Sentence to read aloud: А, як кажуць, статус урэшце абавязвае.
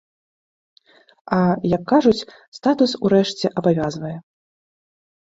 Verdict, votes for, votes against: accepted, 2, 0